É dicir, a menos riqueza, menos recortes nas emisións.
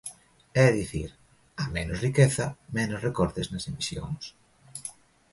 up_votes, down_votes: 2, 0